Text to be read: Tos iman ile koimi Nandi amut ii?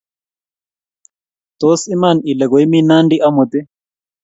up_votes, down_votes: 2, 0